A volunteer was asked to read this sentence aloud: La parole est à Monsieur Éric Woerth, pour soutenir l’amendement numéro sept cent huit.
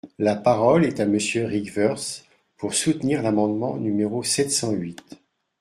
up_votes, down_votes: 0, 2